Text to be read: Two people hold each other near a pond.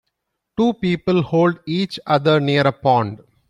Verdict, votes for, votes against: rejected, 1, 2